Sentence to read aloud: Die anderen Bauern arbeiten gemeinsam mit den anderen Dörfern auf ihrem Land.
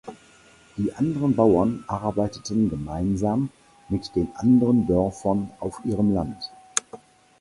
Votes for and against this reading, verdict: 0, 4, rejected